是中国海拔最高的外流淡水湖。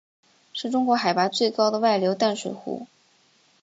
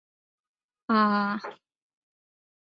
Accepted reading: first